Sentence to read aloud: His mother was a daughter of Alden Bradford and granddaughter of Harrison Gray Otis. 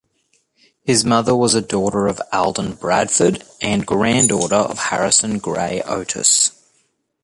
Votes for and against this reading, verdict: 2, 0, accepted